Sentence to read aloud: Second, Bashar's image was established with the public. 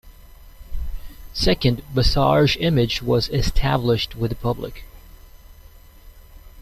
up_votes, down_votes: 0, 2